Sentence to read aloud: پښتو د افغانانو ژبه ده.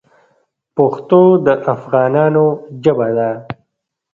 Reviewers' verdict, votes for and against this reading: rejected, 1, 2